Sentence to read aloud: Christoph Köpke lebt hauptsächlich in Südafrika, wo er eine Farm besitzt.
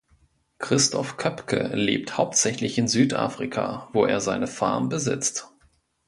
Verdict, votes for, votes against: rejected, 1, 2